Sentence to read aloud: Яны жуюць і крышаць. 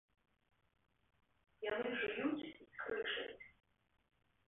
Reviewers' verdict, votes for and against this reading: accepted, 2, 0